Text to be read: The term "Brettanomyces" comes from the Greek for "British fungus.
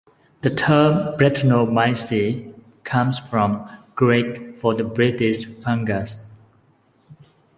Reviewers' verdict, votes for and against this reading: rejected, 1, 2